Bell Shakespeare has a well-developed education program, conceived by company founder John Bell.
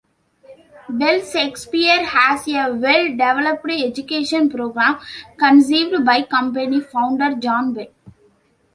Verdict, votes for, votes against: accepted, 2, 0